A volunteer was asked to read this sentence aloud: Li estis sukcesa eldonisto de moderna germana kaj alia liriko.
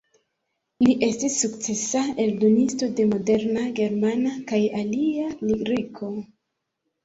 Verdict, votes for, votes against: rejected, 1, 3